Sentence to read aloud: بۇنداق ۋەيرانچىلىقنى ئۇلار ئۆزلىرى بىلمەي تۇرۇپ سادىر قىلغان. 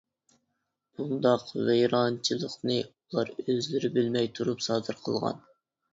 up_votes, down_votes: 2, 0